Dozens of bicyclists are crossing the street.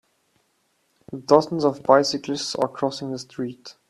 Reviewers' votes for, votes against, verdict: 2, 0, accepted